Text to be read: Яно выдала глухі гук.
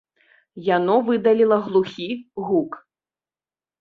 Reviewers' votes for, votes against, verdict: 0, 2, rejected